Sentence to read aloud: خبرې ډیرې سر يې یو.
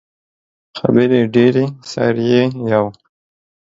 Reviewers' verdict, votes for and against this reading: accepted, 2, 1